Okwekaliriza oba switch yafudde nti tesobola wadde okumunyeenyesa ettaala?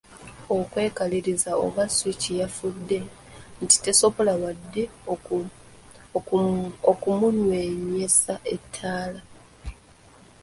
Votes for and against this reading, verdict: 1, 3, rejected